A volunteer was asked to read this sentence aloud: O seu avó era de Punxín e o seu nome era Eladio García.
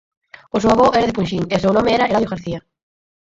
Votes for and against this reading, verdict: 0, 4, rejected